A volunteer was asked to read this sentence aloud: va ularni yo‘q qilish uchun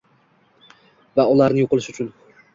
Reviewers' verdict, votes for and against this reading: rejected, 1, 2